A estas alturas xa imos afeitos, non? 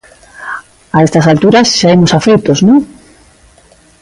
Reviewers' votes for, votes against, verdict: 2, 0, accepted